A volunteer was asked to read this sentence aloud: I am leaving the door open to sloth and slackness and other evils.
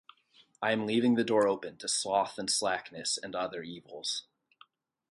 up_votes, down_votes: 4, 0